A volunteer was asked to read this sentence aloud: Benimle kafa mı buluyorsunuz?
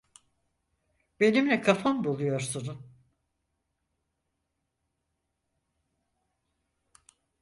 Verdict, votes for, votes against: rejected, 0, 4